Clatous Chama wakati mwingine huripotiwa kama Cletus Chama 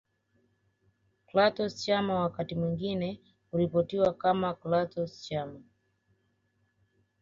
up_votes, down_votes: 2, 0